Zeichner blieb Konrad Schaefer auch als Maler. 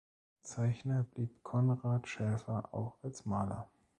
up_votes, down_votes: 1, 2